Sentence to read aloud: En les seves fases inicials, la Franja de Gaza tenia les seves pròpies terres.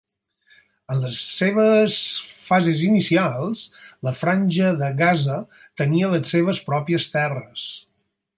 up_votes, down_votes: 4, 0